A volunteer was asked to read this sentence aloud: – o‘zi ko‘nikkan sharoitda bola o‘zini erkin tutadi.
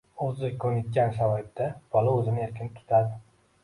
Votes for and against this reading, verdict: 1, 2, rejected